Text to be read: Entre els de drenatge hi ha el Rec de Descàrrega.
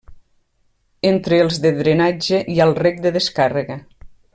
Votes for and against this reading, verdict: 2, 0, accepted